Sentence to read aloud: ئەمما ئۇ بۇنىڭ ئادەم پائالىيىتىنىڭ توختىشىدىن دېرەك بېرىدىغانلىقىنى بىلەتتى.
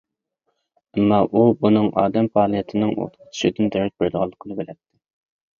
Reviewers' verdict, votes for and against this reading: rejected, 0, 2